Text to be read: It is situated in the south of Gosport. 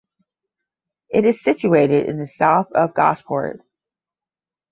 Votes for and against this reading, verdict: 0, 5, rejected